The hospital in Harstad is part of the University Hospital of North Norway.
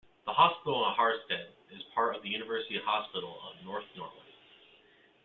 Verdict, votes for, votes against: rejected, 1, 2